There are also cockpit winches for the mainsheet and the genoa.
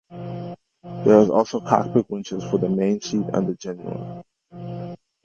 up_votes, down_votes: 2, 0